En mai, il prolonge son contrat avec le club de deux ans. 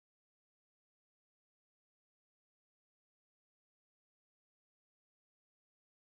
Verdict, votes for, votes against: rejected, 0, 2